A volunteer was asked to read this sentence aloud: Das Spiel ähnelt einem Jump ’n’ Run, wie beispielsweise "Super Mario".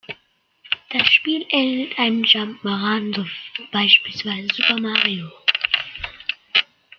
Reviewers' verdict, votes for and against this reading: accepted, 2, 1